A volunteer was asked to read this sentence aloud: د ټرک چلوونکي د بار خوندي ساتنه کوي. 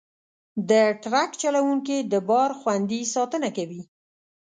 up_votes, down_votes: 2, 0